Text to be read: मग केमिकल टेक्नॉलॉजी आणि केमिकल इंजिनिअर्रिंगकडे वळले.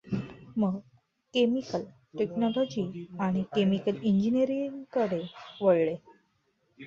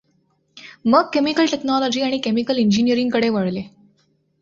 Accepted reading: second